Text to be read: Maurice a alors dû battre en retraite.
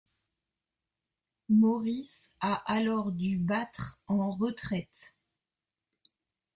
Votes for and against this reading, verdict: 1, 2, rejected